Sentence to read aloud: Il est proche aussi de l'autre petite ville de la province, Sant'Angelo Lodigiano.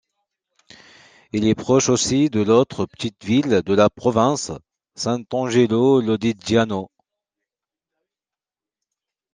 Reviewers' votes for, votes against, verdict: 2, 0, accepted